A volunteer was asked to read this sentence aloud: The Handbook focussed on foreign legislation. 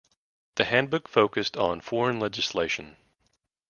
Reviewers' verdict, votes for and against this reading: accepted, 2, 0